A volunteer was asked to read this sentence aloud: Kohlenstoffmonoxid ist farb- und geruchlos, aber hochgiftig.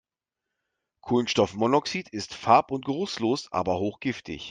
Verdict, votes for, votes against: accepted, 2, 1